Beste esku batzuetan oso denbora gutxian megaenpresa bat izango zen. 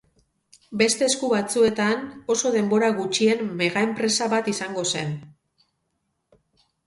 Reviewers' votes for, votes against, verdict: 2, 2, rejected